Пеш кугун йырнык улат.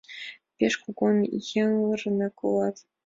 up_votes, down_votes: 2, 1